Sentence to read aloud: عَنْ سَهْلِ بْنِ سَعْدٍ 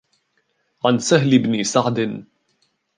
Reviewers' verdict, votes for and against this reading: rejected, 1, 2